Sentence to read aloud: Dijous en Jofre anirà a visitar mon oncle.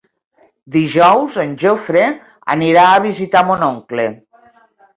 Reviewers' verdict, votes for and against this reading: accepted, 2, 0